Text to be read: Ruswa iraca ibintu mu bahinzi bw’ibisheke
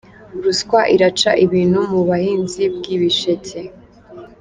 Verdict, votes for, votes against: rejected, 1, 2